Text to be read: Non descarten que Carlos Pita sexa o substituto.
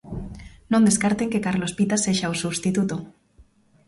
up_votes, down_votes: 2, 1